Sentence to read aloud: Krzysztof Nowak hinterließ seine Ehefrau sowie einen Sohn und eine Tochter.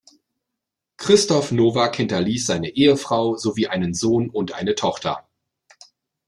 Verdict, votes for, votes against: rejected, 0, 2